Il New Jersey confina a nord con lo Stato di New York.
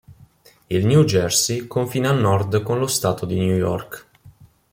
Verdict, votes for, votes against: accepted, 2, 0